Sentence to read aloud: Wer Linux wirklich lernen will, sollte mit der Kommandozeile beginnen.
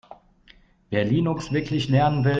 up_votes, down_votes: 0, 2